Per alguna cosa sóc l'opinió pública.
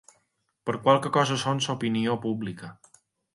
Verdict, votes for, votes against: rejected, 0, 3